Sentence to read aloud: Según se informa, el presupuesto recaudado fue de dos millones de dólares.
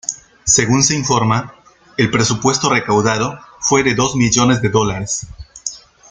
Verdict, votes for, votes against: accepted, 2, 0